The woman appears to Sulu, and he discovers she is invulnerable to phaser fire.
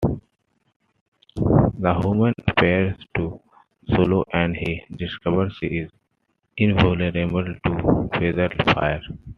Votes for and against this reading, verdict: 0, 2, rejected